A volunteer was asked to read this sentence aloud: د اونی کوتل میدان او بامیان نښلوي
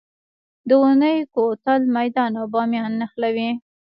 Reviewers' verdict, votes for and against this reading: accepted, 2, 1